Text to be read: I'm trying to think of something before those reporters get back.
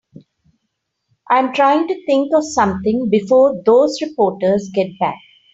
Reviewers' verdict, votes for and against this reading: accepted, 3, 0